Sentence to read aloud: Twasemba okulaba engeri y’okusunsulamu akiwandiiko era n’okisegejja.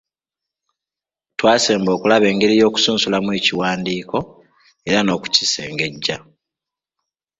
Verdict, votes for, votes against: rejected, 1, 2